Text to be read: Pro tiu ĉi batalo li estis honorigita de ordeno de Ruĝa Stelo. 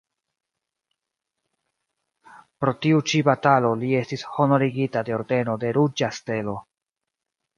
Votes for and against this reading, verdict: 2, 0, accepted